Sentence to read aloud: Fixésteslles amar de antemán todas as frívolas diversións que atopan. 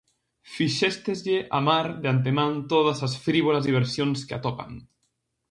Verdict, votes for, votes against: rejected, 2, 2